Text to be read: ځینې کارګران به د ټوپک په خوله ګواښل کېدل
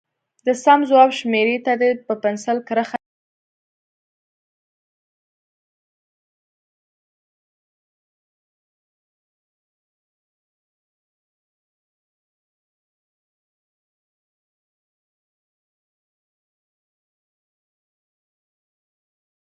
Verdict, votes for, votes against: rejected, 0, 2